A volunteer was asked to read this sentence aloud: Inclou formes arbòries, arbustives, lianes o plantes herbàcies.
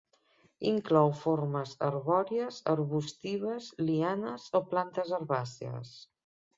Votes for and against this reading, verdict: 3, 0, accepted